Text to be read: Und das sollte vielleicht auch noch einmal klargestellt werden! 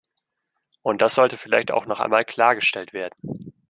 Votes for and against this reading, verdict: 2, 0, accepted